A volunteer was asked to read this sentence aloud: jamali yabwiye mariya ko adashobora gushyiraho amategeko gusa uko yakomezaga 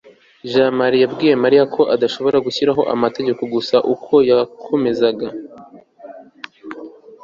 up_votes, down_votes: 2, 0